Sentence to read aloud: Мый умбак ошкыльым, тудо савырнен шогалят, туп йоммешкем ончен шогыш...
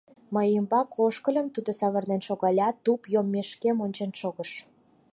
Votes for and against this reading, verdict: 4, 0, accepted